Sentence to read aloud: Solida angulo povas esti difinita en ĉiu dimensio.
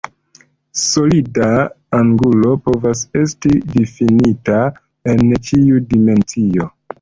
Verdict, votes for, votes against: accepted, 2, 0